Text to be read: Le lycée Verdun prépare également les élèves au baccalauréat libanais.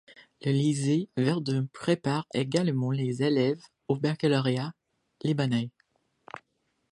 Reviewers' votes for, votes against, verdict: 2, 1, accepted